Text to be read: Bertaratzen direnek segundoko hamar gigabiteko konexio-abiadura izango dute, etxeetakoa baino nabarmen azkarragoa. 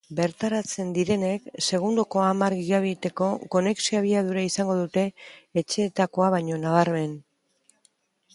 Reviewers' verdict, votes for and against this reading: rejected, 1, 2